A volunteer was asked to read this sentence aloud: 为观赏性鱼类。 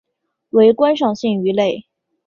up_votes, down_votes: 2, 0